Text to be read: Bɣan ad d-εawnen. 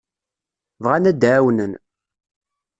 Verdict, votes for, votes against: accepted, 2, 0